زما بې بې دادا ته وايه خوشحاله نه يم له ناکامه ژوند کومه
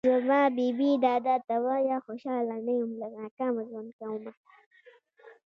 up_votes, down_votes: 2, 1